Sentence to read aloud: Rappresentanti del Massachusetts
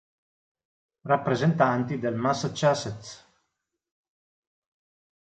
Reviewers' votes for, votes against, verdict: 0, 2, rejected